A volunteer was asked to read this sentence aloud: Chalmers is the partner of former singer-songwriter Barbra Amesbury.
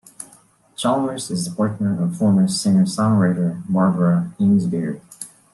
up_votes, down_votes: 2, 1